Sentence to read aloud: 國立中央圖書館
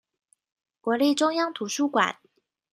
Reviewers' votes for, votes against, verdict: 2, 0, accepted